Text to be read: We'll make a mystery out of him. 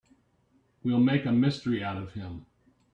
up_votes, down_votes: 3, 0